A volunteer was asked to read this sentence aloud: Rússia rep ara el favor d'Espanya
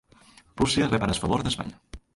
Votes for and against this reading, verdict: 0, 3, rejected